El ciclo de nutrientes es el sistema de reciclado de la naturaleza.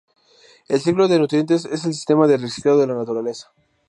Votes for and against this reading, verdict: 2, 0, accepted